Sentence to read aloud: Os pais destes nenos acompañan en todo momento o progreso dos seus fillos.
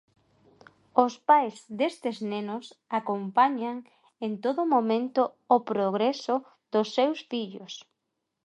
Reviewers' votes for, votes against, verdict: 2, 0, accepted